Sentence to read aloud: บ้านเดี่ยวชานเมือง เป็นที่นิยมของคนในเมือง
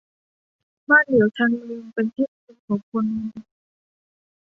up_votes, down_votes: 0, 2